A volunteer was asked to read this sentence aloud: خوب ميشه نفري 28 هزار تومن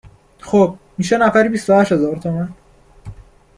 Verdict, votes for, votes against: rejected, 0, 2